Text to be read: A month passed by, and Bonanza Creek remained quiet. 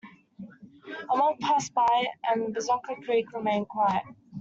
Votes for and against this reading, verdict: 2, 1, accepted